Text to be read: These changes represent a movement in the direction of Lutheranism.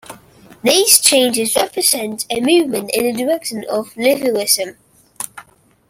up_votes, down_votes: 2, 1